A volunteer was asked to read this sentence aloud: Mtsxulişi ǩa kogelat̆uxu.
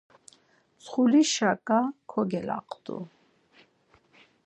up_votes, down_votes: 2, 4